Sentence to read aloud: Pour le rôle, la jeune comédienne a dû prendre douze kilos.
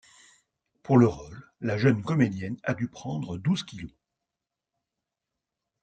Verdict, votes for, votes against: accepted, 2, 0